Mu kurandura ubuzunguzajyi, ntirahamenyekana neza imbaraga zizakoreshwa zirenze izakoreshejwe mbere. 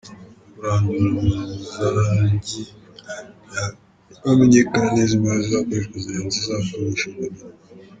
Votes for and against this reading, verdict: 1, 2, rejected